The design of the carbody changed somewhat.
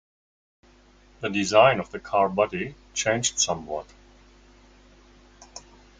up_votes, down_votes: 2, 0